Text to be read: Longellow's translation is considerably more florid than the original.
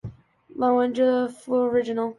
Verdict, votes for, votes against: rejected, 0, 2